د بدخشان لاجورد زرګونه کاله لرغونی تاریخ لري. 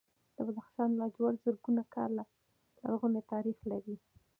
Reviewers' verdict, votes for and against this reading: rejected, 0, 2